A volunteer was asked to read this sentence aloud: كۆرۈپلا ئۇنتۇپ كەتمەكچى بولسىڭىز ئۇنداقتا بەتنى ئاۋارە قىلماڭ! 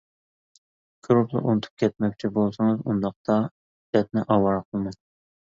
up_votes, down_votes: 2, 1